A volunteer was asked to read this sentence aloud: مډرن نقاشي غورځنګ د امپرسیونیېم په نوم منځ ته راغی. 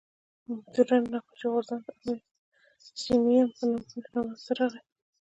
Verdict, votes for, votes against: accepted, 2, 0